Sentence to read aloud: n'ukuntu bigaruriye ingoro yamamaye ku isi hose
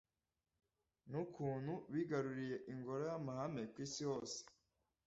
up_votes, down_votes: 0, 2